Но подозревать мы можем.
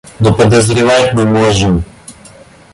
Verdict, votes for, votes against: accepted, 2, 0